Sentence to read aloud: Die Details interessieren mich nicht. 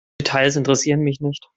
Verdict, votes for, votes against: rejected, 0, 2